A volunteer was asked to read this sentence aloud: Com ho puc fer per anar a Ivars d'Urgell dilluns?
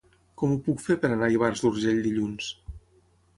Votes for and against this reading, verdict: 9, 0, accepted